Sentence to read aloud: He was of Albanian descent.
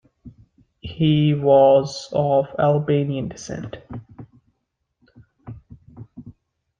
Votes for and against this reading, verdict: 2, 0, accepted